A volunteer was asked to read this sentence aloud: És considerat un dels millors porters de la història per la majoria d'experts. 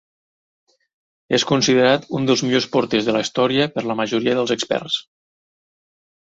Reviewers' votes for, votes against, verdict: 1, 2, rejected